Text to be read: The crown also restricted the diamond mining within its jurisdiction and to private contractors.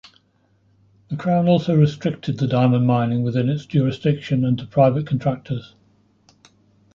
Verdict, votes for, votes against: accepted, 2, 0